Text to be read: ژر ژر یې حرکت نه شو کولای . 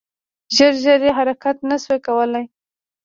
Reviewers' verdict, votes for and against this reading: rejected, 1, 2